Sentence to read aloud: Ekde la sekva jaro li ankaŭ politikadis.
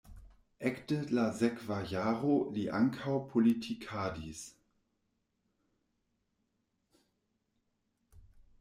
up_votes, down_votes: 1, 2